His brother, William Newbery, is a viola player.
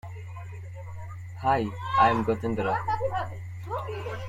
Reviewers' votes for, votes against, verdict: 0, 2, rejected